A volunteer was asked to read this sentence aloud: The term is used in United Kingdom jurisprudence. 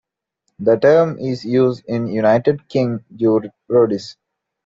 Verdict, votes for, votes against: rejected, 1, 2